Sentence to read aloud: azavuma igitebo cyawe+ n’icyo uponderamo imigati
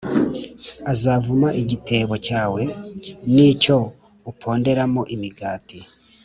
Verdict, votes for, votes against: accepted, 2, 0